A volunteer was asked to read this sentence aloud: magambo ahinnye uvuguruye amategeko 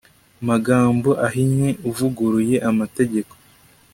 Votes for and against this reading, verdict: 2, 1, accepted